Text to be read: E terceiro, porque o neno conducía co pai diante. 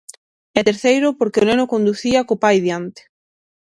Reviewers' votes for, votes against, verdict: 6, 0, accepted